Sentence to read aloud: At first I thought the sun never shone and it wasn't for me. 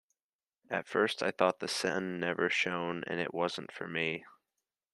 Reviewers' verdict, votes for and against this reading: accepted, 2, 0